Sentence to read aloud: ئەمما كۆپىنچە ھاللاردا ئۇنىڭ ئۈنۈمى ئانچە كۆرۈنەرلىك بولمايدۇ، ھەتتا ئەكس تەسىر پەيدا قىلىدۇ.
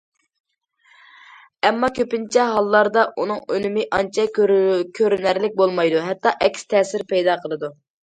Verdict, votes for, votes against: rejected, 1, 2